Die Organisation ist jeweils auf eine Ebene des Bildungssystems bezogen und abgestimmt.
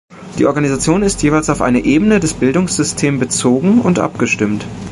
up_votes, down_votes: 0, 2